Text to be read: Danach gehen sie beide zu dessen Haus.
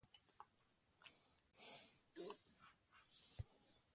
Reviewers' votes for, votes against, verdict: 0, 2, rejected